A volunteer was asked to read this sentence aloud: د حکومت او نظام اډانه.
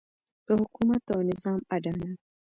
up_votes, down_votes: 2, 1